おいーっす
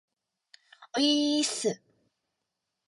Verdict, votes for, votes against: accepted, 3, 1